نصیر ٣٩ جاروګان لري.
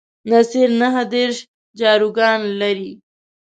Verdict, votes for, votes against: rejected, 0, 2